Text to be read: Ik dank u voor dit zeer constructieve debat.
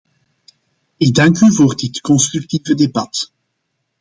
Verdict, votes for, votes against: rejected, 0, 2